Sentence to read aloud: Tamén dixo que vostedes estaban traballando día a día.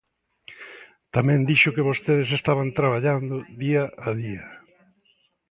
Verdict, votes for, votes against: accepted, 2, 0